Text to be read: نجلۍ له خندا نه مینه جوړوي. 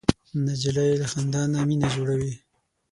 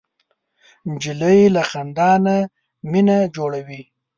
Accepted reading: second